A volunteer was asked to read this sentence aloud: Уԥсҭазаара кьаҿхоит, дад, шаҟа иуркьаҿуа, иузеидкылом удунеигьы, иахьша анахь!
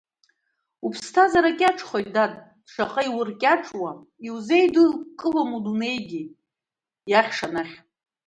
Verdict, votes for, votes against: rejected, 0, 2